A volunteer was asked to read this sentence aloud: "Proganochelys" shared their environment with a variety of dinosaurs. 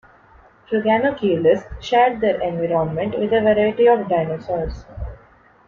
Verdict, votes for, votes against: rejected, 1, 2